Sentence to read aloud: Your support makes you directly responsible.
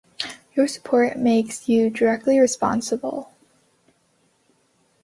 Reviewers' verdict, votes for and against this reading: accepted, 3, 0